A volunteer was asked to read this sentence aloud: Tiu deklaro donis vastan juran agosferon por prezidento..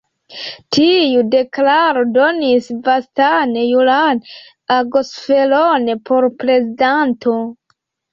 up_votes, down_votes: 1, 2